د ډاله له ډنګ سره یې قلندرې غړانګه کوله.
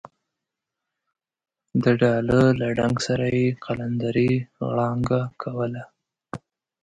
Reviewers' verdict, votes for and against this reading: accepted, 2, 0